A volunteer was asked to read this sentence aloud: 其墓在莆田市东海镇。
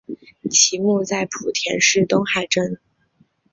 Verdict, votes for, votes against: accepted, 2, 0